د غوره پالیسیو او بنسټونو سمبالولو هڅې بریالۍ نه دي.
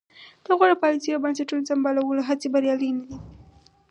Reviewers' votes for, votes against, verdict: 2, 2, rejected